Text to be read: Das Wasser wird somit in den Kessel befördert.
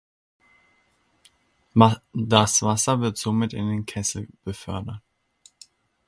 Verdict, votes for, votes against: rejected, 1, 2